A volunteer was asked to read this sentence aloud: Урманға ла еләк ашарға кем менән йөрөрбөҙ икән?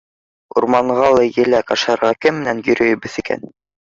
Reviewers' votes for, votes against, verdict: 1, 2, rejected